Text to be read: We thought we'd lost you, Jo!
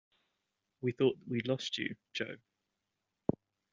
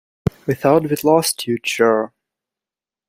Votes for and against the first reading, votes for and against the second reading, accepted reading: 2, 0, 1, 2, first